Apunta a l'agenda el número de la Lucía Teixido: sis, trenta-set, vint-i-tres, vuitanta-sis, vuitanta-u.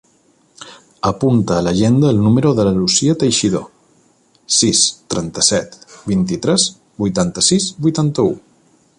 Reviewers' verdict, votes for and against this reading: accepted, 2, 0